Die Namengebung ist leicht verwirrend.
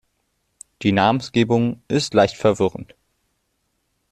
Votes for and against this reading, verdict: 2, 1, accepted